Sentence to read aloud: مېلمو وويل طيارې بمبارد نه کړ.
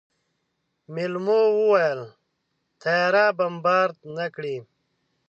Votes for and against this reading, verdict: 1, 2, rejected